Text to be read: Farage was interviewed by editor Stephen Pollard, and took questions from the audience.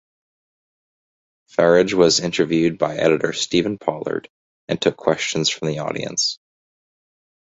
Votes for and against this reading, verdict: 2, 0, accepted